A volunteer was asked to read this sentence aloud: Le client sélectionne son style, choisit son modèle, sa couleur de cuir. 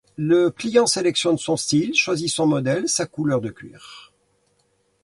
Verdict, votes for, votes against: accepted, 2, 0